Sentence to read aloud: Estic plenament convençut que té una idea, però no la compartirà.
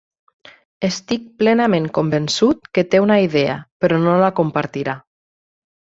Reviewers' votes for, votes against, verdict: 6, 0, accepted